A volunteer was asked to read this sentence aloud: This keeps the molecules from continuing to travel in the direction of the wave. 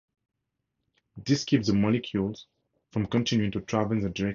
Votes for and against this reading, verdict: 0, 2, rejected